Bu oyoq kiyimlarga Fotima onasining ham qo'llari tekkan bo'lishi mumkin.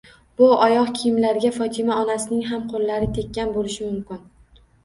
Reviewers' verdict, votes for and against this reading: accepted, 2, 0